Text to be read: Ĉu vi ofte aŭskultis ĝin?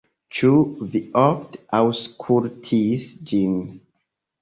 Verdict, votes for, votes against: rejected, 1, 4